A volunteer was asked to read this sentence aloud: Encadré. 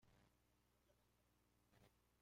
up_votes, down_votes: 0, 2